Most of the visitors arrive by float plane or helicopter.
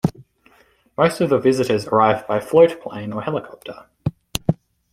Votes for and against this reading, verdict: 2, 0, accepted